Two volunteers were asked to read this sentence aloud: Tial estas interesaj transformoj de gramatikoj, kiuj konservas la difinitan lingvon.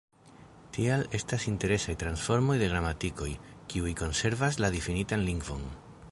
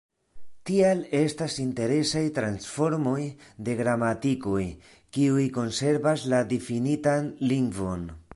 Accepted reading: second